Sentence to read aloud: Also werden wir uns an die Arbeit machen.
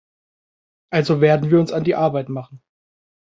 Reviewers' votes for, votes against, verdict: 2, 0, accepted